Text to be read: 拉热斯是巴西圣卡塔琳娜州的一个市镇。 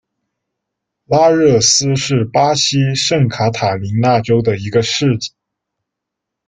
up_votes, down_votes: 1, 2